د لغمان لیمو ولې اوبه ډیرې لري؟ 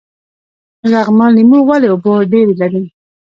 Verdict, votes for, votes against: rejected, 0, 2